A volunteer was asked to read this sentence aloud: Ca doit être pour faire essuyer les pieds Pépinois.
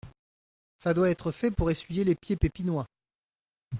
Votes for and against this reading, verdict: 0, 2, rejected